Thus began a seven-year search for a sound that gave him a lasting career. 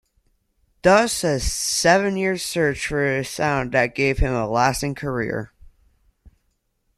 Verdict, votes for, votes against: rejected, 0, 2